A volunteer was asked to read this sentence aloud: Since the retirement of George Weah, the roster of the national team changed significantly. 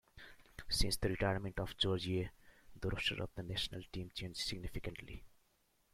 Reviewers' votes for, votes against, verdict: 2, 1, accepted